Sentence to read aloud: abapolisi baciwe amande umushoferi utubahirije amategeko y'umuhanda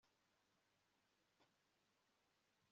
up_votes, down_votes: 1, 2